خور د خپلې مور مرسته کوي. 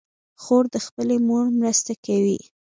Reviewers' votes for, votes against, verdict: 2, 1, accepted